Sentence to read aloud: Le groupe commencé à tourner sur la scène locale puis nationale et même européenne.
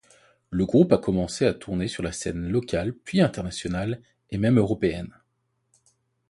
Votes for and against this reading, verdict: 1, 2, rejected